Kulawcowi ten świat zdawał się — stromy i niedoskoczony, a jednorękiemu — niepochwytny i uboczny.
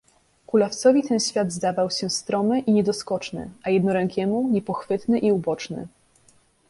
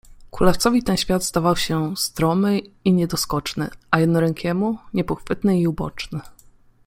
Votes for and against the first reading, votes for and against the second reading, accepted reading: 2, 1, 0, 2, first